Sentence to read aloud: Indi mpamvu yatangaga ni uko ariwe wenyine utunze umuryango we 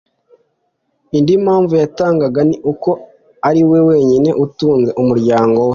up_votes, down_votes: 3, 0